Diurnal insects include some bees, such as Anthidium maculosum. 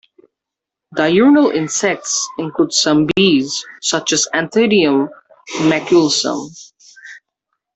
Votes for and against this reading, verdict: 2, 0, accepted